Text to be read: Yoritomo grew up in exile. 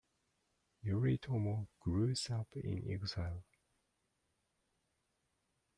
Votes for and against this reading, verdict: 0, 2, rejected